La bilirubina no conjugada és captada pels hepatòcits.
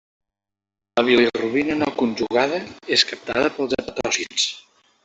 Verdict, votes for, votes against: rejected, 0, 2